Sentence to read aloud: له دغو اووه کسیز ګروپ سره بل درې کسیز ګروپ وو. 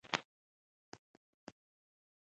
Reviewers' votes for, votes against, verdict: 1, 2, rejected